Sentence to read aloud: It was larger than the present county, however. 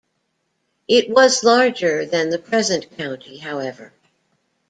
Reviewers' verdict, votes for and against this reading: accepted, 2, 0